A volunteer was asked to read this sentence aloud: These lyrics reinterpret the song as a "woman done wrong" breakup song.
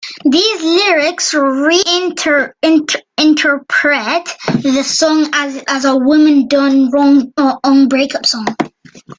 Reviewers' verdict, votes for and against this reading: rejected, 1, 2